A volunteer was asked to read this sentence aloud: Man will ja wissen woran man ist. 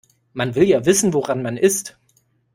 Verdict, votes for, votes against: accepted, 2, 0